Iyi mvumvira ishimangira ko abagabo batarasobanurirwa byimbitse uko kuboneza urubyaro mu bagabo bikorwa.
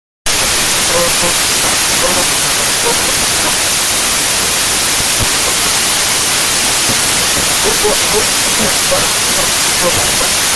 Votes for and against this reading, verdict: 0, 2, rejected